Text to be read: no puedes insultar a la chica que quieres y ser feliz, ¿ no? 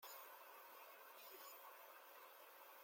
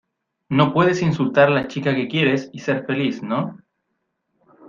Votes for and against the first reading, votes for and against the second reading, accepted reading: 0, 2, 2, 0, second